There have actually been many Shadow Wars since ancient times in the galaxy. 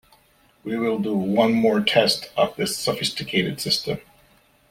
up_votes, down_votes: 0, 2